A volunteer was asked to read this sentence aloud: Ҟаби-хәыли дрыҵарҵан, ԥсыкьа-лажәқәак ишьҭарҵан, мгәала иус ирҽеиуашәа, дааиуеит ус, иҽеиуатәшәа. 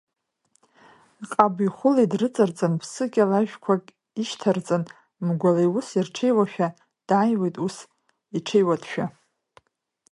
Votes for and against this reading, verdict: 2, 0, accepted